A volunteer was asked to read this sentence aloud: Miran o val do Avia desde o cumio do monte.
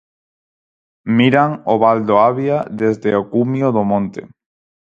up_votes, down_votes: 4, 0